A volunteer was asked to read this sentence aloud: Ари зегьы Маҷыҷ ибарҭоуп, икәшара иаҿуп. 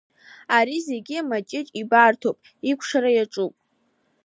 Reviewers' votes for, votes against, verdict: 2, 0, accepted